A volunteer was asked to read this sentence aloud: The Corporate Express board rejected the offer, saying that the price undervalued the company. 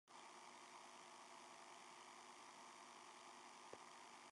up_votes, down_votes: 0, 3